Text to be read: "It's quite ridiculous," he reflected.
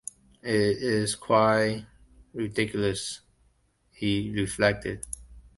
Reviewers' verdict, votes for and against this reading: rejected, 0, 2